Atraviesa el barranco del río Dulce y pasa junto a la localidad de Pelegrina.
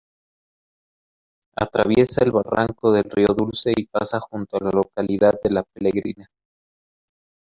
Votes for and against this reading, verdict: 1, 2, rejected